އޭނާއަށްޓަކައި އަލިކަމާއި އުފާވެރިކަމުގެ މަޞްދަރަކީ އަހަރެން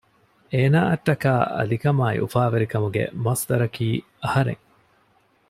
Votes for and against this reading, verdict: 2, 0, accepted